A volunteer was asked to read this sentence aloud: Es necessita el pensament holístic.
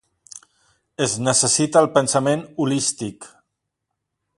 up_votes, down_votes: 2, 1